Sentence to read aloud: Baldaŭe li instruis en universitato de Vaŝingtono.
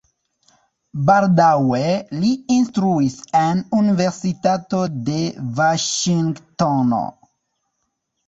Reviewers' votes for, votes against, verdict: 1, 2, rejected